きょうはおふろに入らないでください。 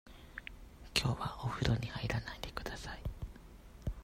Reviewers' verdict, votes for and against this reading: accepted, 2, 0